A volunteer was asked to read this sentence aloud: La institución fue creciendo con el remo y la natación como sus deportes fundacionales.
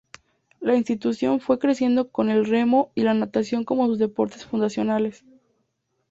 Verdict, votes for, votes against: accepted, 2, 0